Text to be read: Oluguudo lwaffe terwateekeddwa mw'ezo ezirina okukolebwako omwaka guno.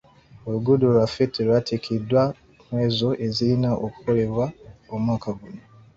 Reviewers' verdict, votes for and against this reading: rejected, 1, 2